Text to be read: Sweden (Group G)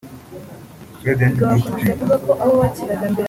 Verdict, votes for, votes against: rejected, 0, 2